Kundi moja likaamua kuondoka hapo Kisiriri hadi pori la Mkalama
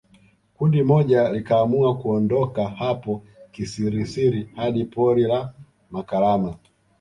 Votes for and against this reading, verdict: 0, 2, rejected